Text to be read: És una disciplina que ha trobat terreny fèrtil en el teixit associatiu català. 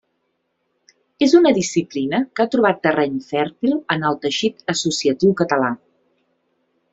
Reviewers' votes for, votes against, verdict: 2, 0, accepted